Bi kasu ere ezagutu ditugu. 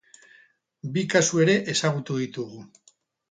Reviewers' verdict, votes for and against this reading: rejected, 2, 2